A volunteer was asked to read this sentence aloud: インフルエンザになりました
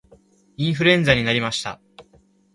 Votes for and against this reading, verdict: 0, 2, rejected